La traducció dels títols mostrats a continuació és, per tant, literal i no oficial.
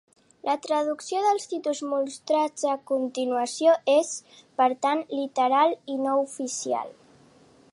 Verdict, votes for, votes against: accepted, 2, 1